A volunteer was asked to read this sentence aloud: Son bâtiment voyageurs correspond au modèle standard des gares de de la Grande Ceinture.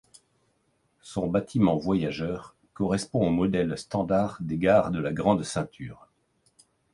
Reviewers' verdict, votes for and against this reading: accepted, 2, 1